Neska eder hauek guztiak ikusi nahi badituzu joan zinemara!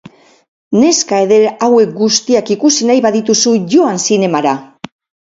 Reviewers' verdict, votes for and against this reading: rejected, 2, 2